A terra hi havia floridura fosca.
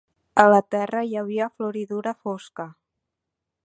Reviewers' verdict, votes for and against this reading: rejected, 0, 2